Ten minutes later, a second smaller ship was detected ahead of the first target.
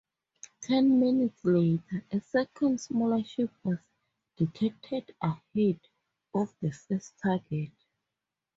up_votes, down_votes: 2, 2